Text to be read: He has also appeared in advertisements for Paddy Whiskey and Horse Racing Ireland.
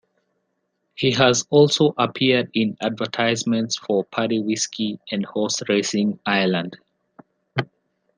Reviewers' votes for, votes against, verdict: 1, 2, rejected